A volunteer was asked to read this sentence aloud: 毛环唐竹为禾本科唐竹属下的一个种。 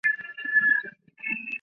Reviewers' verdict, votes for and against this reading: rejected, 1, 2